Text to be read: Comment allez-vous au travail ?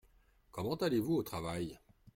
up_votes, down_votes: 2, 0